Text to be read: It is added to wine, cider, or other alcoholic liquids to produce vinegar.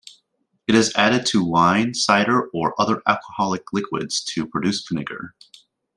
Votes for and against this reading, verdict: 2, 0, accepted